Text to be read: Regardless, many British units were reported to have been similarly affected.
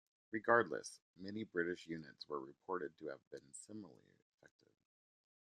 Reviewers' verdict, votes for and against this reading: rejected, 1, 2